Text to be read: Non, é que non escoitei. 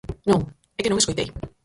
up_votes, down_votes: 2, 4